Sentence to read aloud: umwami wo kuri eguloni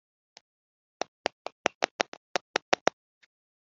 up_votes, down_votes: 0, 3